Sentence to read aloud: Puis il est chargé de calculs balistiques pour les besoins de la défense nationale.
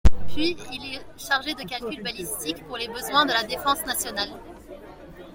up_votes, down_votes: 2, 1